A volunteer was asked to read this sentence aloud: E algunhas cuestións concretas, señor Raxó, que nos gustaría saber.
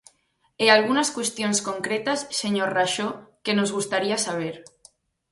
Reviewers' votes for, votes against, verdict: 0, 4, rejected